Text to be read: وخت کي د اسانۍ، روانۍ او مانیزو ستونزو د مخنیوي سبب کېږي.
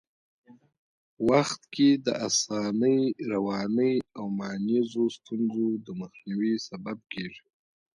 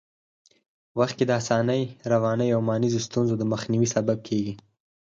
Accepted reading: second